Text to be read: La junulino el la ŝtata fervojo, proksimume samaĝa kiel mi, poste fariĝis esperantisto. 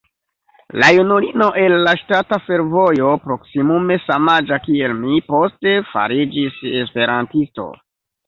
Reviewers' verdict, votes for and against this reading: rejected, 0, 2